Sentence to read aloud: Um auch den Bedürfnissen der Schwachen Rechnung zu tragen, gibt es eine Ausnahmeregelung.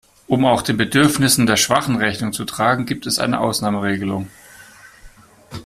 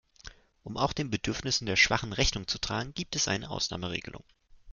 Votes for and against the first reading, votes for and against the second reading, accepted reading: 2, 1, 0, 2, first